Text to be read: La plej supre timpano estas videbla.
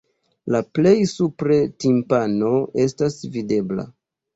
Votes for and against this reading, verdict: 2, 0, accepted